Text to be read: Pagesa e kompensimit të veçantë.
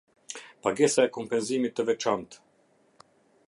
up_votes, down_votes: 2, 0